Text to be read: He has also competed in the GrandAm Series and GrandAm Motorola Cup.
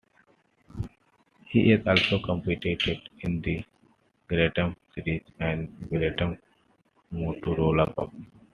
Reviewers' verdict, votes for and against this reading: rejected, 1, 2